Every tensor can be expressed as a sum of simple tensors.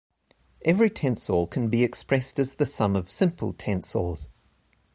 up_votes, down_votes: 2, 0